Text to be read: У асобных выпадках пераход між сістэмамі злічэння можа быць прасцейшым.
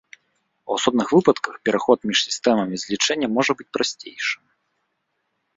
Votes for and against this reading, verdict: 2, 0, accepted